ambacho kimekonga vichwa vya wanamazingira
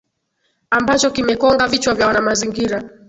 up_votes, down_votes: 9, 0